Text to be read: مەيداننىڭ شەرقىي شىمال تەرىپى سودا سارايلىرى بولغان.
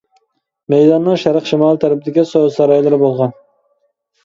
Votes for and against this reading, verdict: 0, 2, rejected